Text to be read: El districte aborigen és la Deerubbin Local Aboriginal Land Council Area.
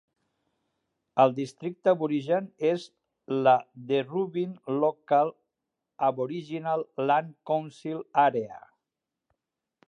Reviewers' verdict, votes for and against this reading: accepted, 4, 1